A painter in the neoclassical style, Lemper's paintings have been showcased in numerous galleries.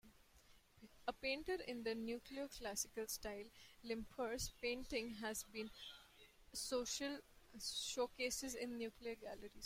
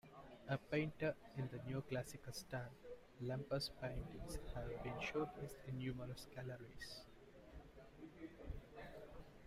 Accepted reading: second